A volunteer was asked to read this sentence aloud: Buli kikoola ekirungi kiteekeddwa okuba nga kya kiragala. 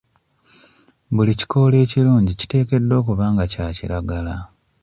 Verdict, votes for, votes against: accepted, 2, 0